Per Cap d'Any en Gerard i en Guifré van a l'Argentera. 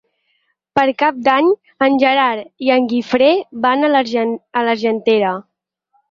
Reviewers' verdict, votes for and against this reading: rejected, 0, 4